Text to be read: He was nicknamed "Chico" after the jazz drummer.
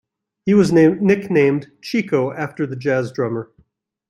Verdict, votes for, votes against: rejected, 0, 2